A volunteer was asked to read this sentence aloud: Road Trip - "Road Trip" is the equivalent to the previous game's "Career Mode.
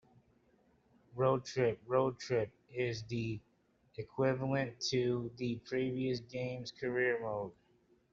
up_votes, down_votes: 2, 0